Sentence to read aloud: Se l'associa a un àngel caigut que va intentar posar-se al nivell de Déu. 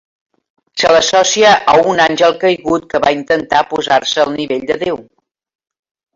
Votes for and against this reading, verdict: 2, 1, accepted